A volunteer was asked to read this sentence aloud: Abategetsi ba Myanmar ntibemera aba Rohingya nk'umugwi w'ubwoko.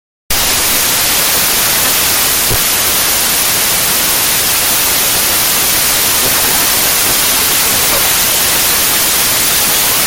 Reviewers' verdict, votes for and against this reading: rejected, 0, 2